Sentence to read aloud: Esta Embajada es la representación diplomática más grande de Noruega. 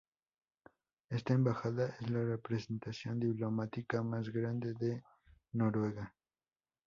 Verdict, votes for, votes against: accepted, 2, 0